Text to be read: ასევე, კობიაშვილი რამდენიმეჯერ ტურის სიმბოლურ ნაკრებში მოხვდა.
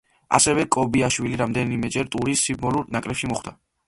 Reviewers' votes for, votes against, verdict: 0, 2, rejected